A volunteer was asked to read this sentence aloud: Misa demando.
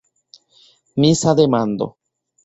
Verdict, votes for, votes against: accepted, 2, 0